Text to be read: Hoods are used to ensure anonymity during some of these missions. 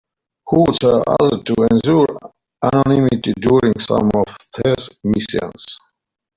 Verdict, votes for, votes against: rejected, 0, 2